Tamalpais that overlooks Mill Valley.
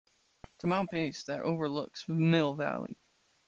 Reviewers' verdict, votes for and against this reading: accepted, 2, 0